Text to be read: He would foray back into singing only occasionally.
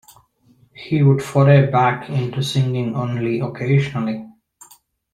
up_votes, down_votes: 0, 2